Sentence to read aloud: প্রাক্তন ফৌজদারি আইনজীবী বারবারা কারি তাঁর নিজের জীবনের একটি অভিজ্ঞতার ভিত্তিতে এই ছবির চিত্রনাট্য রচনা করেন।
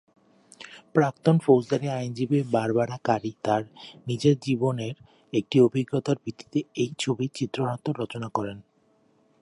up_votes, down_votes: 2, 1